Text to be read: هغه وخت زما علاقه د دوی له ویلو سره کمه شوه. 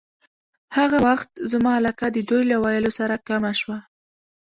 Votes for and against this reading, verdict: 1, 2, rejected